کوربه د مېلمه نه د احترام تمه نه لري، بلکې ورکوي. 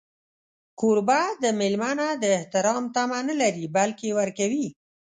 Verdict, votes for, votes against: accepted, 2, 0